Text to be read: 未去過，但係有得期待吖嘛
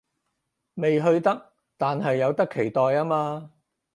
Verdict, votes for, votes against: rejected, 0, 4